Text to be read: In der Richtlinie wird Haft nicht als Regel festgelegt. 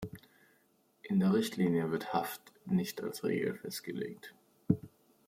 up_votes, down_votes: 2, 0